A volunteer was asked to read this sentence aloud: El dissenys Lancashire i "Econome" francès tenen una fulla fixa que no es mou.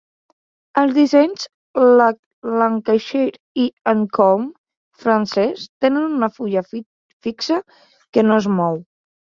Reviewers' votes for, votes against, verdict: 0, 2, rejected